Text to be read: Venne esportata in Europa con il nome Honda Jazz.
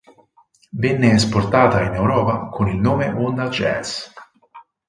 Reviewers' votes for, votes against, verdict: 6, 0, accepted